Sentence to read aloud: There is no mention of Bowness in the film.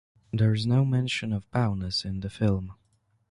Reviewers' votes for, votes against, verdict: 3, 0, accepted